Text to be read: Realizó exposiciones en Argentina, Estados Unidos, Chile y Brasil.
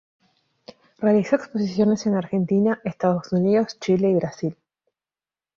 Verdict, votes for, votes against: accepted, 3, 0